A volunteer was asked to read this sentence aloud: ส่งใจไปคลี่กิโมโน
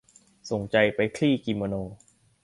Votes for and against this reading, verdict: 2, 0, accepted